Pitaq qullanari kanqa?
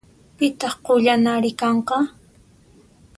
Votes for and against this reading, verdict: 2, 0, accepted